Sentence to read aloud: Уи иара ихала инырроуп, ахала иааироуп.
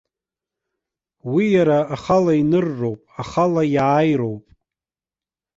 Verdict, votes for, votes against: rejected, 1, 2